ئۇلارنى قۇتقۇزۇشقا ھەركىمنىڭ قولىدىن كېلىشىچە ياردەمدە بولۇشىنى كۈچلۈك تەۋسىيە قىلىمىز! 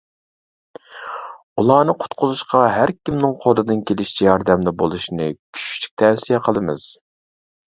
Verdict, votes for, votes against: accepted, 2, 0